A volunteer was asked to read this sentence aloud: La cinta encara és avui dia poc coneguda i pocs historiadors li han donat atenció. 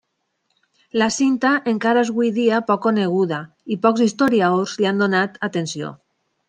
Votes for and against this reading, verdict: 0, 2, rejected